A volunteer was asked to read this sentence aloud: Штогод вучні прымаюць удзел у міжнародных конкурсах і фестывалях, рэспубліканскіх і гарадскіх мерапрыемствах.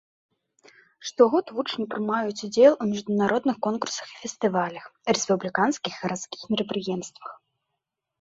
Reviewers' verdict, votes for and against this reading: rejected, 1, 2